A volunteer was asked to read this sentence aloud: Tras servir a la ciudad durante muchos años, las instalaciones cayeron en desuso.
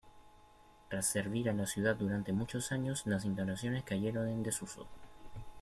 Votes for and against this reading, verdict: 2, 1, accepted